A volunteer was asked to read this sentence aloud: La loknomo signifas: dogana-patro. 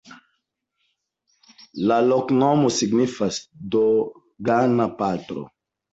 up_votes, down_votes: 1, 2